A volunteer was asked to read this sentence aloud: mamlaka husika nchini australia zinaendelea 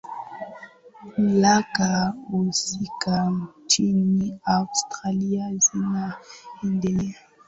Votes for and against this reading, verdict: 12, 3, accepted